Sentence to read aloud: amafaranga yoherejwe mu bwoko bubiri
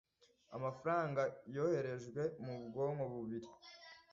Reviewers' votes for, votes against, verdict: 0, 2, rejected